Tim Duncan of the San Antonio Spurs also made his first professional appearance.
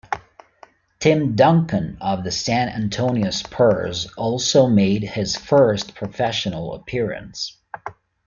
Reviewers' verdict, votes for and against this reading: accepted, 2, 0